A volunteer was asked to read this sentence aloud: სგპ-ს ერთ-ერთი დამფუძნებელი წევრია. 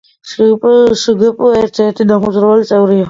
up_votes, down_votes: 0, 2